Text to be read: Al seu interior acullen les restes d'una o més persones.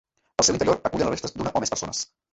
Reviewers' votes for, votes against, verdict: 0, 2, rejected